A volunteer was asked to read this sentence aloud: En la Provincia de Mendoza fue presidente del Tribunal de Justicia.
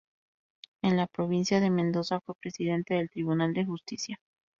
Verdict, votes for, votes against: accepted, 4, 0